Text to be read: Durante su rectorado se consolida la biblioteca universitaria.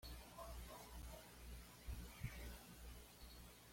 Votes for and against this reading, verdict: 1, 2, rejected